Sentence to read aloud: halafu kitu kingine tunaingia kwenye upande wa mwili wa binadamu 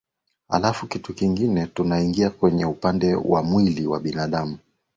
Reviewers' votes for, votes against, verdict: 2, 0, accepted